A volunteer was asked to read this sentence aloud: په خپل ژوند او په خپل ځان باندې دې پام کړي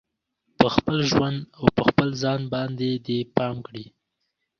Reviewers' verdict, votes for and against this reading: rejected, 1, 2